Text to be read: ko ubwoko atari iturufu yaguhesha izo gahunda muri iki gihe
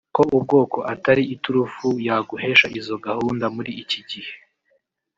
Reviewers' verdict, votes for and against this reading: rejected, 0, 2